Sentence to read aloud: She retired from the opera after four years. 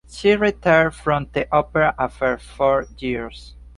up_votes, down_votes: 2, 0